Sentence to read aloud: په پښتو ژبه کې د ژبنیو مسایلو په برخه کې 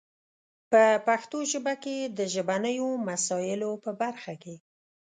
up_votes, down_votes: 2, 0